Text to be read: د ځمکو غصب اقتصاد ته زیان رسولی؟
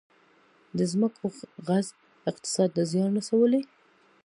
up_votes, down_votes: 2, 1